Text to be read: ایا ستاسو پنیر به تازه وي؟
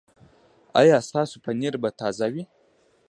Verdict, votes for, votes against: rejected, 0, 2